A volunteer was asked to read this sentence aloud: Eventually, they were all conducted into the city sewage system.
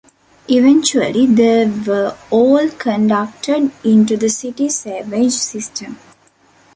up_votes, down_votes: 1, 2